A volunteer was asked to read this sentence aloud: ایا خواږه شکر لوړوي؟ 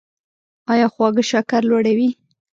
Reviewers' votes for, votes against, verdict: 1, 2, rejected